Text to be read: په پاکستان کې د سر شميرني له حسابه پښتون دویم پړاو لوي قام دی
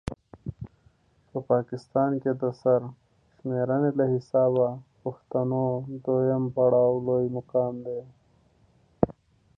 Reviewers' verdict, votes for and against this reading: rejected, 1, 2